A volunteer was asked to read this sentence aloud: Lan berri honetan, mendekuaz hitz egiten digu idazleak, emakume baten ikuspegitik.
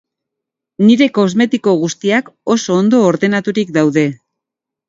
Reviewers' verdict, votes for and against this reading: rejected, 0, 2